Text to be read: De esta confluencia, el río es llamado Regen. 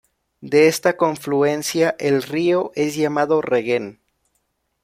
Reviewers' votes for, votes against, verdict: 0, 2, rejected